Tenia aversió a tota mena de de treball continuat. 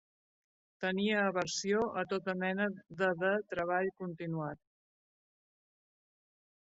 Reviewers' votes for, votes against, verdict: 1, 2, rejected